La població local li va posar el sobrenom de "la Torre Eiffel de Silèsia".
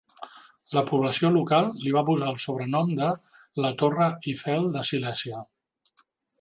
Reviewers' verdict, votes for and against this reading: accepted, 2, 0